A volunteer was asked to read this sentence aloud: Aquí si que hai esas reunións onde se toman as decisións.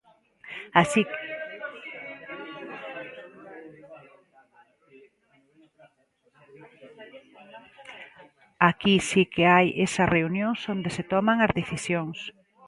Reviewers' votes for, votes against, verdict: 0, 2, rejected